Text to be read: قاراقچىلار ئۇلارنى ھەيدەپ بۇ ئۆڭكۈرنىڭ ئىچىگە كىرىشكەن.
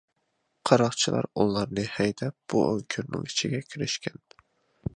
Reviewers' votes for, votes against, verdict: 2, 0, accepted